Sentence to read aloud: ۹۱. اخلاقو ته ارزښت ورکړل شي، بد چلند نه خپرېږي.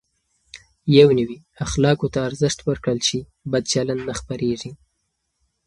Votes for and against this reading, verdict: 0, 2, rejected